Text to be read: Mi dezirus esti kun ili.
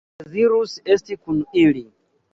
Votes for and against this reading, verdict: 0, 2, rejected